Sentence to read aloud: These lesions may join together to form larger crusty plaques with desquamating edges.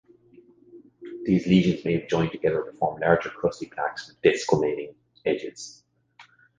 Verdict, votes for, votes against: rejected, 1, 2